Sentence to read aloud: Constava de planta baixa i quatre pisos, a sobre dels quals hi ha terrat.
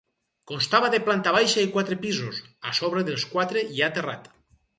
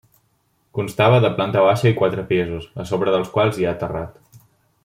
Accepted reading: second